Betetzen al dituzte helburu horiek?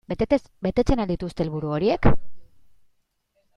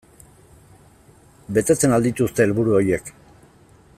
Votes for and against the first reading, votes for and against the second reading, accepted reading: 0, 2, 2, 0, second